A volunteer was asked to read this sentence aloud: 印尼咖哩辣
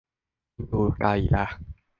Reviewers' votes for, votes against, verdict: 1, 2, rejected